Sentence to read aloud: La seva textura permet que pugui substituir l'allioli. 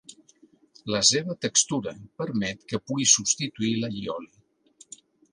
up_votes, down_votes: 2, 0